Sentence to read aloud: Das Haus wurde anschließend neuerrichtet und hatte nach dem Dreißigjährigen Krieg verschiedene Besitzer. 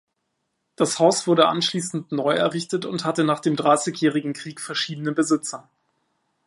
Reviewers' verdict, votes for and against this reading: accepted, 2, 0